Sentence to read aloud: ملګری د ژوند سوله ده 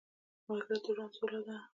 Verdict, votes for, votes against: accepted, 2, 0